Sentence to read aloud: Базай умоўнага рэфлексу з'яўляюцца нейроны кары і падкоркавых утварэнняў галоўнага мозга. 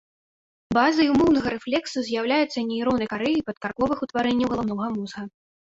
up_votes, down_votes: 1, 2